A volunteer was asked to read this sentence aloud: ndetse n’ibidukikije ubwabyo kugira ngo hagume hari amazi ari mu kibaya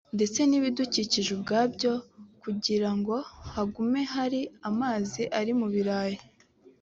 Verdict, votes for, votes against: rejected, 0, 2